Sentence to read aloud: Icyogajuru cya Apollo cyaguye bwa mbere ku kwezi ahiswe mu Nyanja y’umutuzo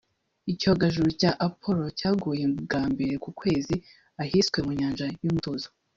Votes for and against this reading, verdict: 0, 2, rejected